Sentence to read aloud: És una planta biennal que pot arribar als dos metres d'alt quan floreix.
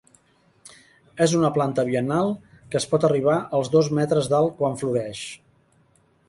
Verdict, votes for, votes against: rejected, 1, 2